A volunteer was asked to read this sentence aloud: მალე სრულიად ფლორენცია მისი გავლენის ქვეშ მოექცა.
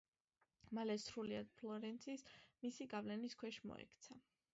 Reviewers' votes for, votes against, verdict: 2, 1, accepted